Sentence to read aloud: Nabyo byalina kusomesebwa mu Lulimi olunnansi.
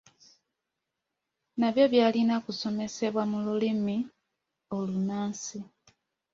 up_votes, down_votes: 2, 0